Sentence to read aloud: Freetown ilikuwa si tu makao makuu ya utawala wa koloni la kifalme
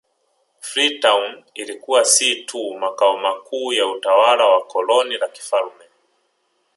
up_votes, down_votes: 0, 2